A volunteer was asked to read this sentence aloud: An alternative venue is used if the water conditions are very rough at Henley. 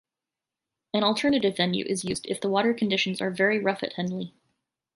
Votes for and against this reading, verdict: 2, 0, accepted